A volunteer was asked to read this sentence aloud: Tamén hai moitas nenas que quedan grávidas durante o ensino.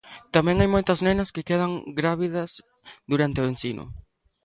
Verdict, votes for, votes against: accepted, 2, 0